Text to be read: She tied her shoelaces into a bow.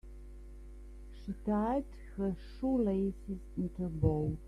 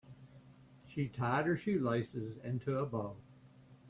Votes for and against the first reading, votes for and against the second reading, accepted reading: 1, 2, 2, 0, second